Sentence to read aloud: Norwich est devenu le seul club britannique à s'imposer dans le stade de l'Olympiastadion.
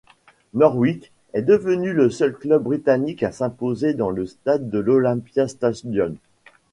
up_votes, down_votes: 1, 2